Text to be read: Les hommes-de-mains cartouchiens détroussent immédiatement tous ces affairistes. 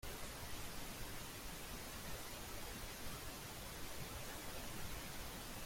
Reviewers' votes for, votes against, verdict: 0, 2, rejected